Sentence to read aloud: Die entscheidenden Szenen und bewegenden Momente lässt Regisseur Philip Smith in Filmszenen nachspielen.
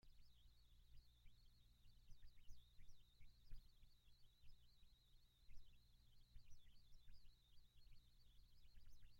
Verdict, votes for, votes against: rejected, 0, 2